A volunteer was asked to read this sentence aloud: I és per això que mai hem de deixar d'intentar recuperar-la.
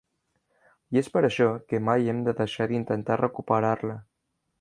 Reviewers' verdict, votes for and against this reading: accepted, 3, 0